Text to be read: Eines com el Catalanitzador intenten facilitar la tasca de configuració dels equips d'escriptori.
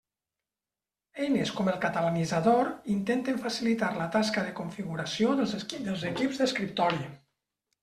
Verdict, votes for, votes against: rejected, 1, 2